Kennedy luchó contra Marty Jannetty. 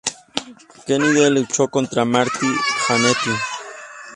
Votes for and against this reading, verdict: 0, 2, rejected